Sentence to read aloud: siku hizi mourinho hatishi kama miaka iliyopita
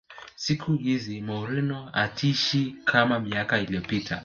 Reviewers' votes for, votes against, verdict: 2, 0, accepted